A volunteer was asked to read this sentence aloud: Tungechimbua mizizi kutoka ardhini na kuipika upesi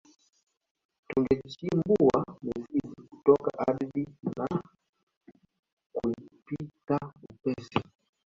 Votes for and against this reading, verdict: 4, 5, rejected